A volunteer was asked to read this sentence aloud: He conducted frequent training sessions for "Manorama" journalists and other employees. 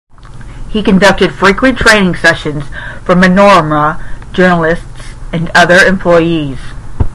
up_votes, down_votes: 10, 0